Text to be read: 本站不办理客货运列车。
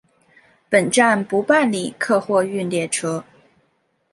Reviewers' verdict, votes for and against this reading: accepted, 2, 0